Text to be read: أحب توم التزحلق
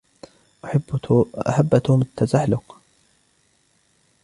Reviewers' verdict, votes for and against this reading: rejected, 1, 2